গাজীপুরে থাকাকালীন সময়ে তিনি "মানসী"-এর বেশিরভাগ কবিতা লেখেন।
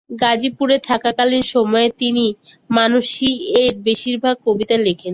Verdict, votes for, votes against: accepted, 2, 0